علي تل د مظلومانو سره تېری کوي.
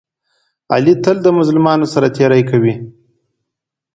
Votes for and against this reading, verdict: 2, 0, accepted